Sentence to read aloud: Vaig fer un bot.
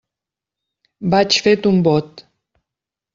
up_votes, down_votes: 0, 2